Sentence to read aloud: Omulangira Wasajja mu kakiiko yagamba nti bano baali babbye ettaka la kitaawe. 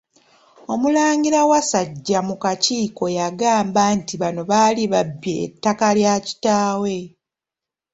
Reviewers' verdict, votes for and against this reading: accepted, 2, 1